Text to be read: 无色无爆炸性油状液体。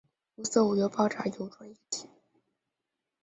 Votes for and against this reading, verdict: 2, 2, rejected